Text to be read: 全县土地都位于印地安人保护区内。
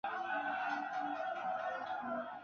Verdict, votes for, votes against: rejected, 0, 4